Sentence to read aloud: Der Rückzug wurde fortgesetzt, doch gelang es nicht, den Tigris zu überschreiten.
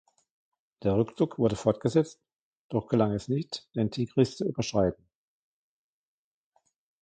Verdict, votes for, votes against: accepted, 2, 1